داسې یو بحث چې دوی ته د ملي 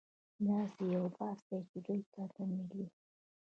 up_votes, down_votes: 1, 2